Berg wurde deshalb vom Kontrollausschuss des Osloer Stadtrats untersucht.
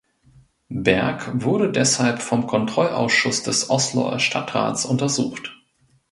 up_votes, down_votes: 3, 0